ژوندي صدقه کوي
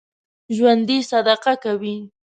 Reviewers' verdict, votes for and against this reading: accepted, 2, 0